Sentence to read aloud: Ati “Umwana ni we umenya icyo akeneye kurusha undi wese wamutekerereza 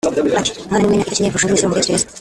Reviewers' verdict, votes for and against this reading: rejected, 0, 2